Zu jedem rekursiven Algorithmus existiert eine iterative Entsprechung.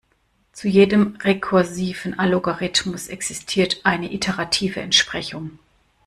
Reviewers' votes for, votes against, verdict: 0, 2, rejected